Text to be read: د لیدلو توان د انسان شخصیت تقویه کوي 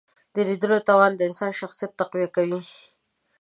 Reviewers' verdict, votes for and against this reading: accepted, 2, 1